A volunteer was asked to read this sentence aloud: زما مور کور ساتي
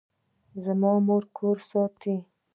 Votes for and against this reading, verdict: 2, 0, accepted